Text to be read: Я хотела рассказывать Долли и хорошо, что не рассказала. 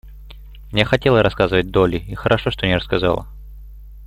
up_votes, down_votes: 2, 0